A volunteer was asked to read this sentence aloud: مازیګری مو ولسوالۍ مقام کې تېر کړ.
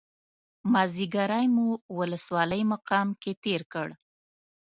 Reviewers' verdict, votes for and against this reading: accepted, 2, 0